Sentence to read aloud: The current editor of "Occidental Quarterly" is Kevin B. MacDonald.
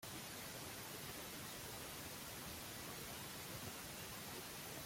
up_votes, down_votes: 0, 2